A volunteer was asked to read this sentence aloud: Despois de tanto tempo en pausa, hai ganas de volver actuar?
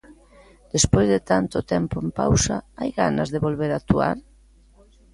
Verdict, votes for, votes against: accepted, 2, 0